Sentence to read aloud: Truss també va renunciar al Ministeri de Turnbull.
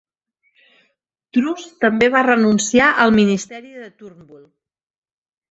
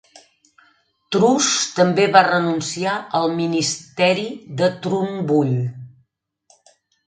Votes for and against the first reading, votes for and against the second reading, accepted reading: 6, 0, 0, 2, first